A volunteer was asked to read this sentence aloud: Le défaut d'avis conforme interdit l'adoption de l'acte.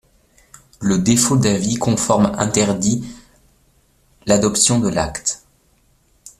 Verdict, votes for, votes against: rejected, 1, 2